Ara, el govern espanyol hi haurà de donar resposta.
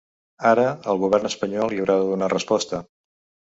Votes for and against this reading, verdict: 2, 0, accepted